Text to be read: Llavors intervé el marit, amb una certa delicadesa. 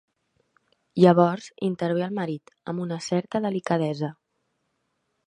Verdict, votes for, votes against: accepted, 3, 0